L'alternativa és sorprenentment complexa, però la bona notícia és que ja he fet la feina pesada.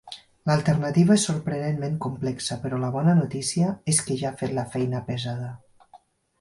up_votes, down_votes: 4, 0